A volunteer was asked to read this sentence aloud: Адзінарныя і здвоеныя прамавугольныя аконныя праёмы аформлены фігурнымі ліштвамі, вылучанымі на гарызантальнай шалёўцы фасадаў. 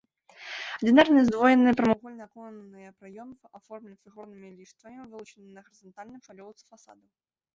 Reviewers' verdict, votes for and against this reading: rejected, 0, 2